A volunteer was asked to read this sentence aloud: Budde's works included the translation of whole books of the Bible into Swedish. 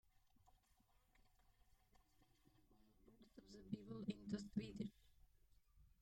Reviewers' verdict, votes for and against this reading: rejected, 0, 2